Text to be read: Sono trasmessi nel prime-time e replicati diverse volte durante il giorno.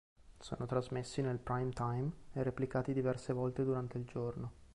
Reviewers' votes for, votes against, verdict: 2, 0, accepted